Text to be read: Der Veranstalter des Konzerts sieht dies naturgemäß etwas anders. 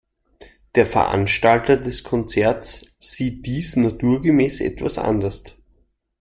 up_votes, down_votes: 2, 0